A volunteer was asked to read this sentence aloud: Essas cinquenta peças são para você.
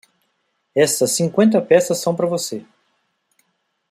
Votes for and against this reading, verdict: 1, 2, rejected